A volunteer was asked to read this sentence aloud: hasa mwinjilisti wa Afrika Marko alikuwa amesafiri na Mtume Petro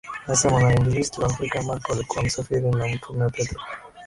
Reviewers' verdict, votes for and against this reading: accepted, 10, 0